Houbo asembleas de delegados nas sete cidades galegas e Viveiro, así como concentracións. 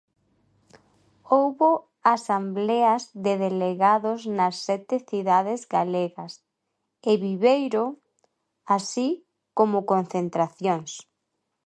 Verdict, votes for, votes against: rejected, 0, 2